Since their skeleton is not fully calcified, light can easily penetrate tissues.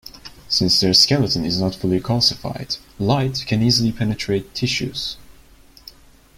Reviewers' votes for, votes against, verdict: 2, 0, accepted